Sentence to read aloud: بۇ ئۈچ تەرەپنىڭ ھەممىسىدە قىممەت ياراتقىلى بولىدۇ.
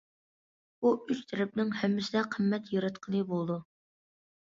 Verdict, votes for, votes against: accepted, 2, 0